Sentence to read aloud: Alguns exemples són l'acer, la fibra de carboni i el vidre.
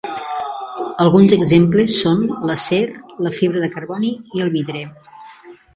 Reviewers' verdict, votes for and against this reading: rejected, 0, 2